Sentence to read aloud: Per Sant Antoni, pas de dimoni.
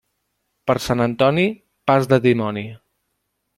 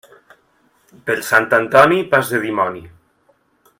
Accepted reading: second